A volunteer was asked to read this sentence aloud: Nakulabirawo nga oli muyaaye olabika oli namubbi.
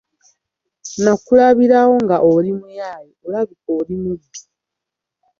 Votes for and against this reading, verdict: 0, 2, rejected